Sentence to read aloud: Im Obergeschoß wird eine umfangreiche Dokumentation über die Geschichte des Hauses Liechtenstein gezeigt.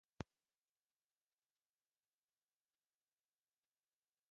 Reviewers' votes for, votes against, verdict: 0, 3, rejected